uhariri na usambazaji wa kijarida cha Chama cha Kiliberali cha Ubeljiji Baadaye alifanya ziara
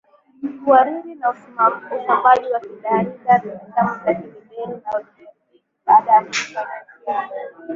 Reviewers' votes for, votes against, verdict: 0, 2, rejected